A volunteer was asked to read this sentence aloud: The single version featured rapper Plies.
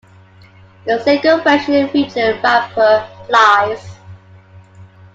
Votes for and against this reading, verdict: 2, 1, accepted